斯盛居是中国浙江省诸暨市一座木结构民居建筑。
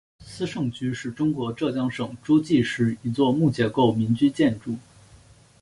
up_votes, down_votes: 3, 0